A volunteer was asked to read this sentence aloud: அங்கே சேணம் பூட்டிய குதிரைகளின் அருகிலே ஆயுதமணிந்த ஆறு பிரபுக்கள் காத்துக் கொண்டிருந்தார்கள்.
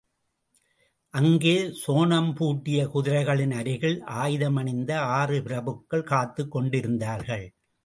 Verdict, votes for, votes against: rejected, 0, 2